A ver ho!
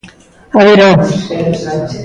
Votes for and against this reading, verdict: 1, 2, rejected